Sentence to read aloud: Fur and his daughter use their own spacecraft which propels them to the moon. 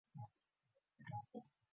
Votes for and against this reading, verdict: 0, 2, rejected